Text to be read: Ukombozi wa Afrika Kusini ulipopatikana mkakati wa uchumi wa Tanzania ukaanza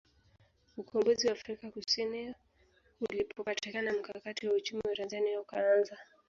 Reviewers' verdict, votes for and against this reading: rejected, 0, 2